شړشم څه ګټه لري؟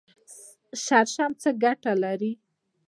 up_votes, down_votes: 2, 0